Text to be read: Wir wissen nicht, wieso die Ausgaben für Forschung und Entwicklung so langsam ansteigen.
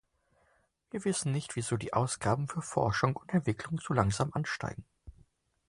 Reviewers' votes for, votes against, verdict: 2, 0, accepted